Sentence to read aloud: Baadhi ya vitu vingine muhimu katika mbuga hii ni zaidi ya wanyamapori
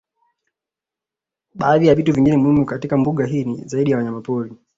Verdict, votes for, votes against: accepted, 2, 0